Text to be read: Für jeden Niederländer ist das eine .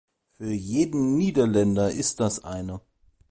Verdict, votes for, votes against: accepted, 2, 0